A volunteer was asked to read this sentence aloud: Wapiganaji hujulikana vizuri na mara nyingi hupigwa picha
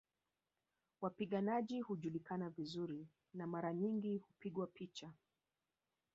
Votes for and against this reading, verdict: 1, 2, rejected